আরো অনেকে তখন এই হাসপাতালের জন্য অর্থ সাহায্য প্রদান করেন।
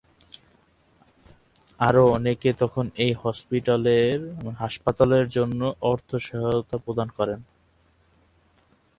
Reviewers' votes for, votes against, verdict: 0, 2, rejected